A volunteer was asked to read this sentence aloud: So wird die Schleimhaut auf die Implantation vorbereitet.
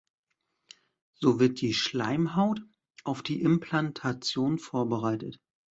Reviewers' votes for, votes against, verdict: 2, 0, accepted